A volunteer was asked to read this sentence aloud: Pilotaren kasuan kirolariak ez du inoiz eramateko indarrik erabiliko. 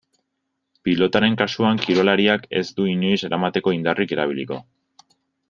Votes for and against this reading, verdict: 2, 1, accepted